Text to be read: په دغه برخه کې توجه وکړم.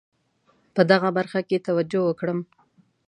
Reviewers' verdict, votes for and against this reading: accepted, 2, 0